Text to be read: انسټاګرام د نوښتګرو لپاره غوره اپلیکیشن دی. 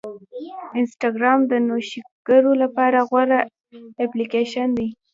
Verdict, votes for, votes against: accepted, 2, 0